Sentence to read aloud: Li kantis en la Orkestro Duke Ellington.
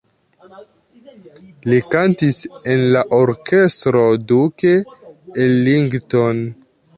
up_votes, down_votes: 2, 0